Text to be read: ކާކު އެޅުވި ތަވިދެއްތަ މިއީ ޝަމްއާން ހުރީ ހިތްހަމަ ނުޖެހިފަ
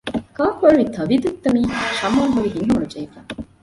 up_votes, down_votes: 0, 2